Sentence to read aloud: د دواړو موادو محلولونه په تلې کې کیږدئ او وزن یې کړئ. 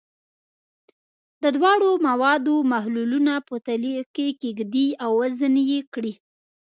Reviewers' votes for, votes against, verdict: 1, 2, rejected